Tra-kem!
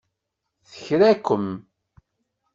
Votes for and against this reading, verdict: 1, 2, rejected